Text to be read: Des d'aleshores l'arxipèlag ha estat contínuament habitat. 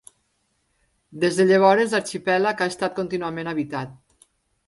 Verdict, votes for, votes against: rejected, 0, 2